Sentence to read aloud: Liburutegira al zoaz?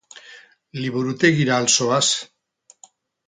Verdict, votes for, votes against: rejected, 2, 2